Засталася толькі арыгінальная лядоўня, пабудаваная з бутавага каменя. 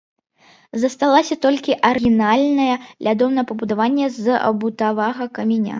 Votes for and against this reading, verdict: 0, 3, rejected